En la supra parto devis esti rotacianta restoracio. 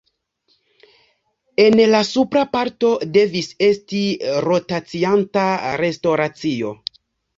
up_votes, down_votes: 2, 0